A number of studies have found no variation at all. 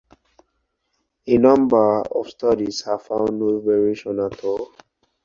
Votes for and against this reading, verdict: 4, 0, accepted